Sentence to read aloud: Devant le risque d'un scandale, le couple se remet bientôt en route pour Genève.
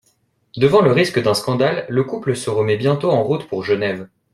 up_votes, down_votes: 2, 0